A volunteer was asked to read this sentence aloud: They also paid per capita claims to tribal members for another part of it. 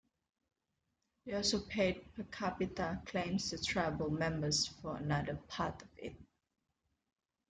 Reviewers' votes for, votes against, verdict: 2, 0, accepted